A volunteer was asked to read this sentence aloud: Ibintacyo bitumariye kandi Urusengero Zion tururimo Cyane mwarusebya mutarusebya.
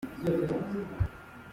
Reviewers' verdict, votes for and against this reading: rejected, 0, 2